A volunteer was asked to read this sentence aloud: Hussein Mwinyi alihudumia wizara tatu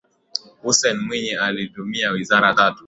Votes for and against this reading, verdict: 2, 0, accepted